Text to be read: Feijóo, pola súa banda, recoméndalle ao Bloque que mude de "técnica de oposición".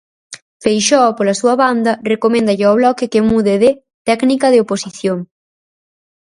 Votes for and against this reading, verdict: 0, 4, rejected